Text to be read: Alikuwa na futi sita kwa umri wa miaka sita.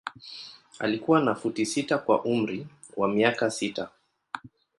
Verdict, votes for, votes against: accepted, 2, 0